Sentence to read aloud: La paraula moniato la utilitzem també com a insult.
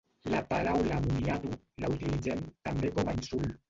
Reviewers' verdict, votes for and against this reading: rejected, 1, 2